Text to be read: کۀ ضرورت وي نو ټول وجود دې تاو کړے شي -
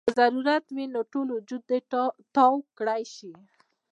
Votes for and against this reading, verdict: 1, 2, rejected